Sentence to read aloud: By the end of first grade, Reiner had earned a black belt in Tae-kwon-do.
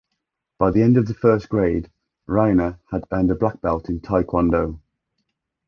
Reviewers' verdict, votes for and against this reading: rejected, 1, 2